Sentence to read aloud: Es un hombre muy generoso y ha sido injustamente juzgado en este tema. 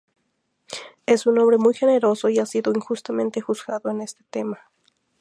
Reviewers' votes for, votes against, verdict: 2, 0, accepted